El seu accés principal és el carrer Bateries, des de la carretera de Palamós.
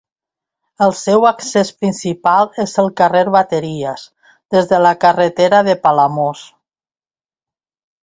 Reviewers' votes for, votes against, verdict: 2, 0, accepted